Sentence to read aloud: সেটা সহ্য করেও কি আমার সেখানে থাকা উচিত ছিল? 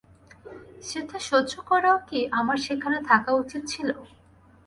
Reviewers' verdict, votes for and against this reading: rejected, 0, 2